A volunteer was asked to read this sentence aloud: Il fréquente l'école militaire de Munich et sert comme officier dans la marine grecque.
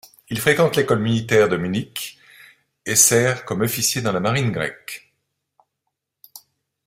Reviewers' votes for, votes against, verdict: 2, 0, accepted